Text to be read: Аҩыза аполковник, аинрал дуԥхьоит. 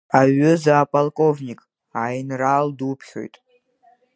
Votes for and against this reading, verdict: 3, 2, accepted